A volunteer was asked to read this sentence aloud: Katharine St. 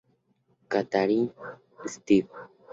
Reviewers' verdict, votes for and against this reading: rejected, 0, 2